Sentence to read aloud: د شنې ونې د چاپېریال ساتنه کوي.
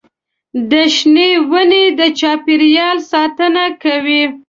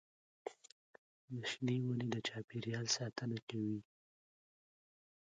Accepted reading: first